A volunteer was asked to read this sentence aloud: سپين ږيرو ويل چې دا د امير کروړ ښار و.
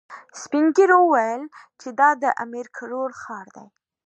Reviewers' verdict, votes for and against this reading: accepted, 2, 0